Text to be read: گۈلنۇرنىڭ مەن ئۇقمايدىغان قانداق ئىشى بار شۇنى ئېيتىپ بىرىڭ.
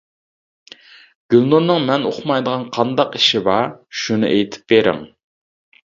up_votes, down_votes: 2, 0